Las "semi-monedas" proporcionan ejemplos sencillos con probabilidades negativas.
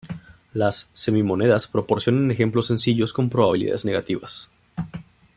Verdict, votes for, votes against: accepted, 2, 0